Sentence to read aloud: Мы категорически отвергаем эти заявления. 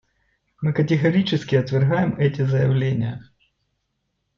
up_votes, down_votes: 2, 0